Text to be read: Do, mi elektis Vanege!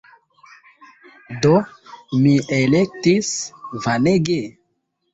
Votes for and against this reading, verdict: 3, 1, accepted